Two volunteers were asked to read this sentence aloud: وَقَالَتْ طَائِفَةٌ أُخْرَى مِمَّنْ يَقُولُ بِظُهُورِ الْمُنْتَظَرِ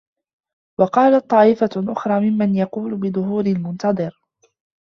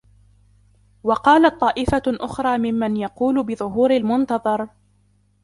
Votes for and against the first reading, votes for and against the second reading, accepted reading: 1, 2, 2, 0, second